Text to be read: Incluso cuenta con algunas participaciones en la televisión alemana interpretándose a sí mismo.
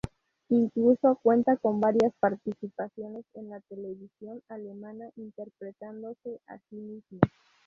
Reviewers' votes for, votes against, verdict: 0, 4, rejected